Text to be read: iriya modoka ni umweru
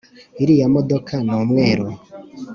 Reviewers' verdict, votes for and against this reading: accepted, 4, 0